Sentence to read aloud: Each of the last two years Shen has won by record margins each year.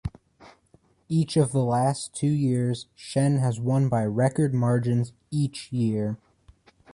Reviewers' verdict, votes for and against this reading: rejected, 1, 2